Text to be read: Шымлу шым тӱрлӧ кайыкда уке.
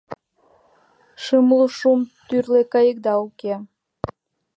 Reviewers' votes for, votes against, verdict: 1, 2, rejected